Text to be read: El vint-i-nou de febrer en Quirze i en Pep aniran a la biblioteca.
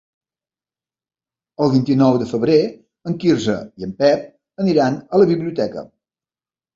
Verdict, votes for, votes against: accepted, 3, 0